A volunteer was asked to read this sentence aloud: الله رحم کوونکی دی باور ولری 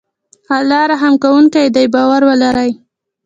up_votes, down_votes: 2, 0